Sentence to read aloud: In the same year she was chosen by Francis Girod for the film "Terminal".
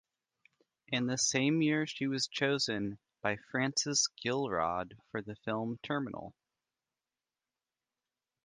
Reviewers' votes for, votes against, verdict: 0, 2, rejected